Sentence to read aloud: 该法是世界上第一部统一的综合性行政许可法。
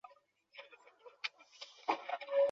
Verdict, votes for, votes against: rejected, 0, 3